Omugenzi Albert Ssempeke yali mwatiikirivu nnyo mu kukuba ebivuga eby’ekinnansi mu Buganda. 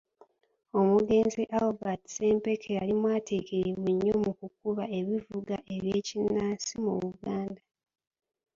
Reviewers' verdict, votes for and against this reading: accepted, 2, 1